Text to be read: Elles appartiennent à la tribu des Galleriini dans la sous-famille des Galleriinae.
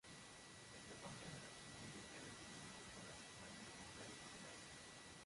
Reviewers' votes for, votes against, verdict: 0, 2, rejected